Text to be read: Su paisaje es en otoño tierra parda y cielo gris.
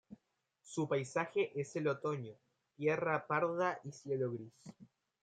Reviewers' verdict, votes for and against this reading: rejected, 1, 2